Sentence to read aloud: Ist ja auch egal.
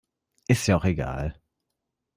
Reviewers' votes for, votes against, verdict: 2, 0, accepted